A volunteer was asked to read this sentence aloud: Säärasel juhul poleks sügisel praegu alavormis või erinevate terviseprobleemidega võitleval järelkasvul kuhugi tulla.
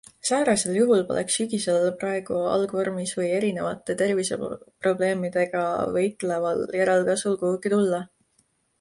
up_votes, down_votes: 0, 2